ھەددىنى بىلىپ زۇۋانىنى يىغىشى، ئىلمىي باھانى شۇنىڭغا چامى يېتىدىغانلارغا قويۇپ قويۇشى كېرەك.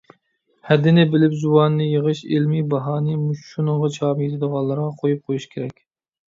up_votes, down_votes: 2, 1